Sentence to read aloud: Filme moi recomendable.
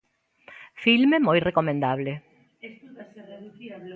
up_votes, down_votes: 2, 0